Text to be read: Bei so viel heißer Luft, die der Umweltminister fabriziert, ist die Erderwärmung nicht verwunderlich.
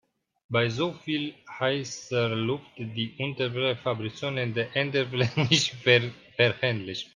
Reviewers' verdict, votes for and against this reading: rejected, 0, 3